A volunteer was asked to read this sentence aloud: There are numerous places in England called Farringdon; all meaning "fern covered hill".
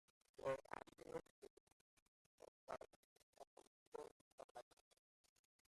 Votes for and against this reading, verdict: 0, 2, rejected